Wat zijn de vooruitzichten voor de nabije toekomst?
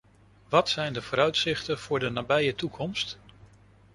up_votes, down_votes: 2, 0